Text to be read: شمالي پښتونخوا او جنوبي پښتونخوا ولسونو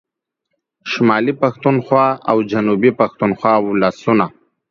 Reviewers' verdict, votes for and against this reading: accepted, 2, 0